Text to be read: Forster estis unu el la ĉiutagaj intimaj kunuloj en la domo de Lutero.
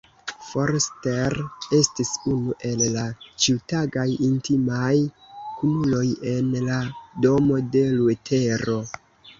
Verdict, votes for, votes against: rejected, 1, 2